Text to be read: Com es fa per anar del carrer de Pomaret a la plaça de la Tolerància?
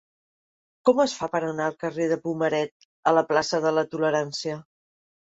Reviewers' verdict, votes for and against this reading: rejected, 0, 2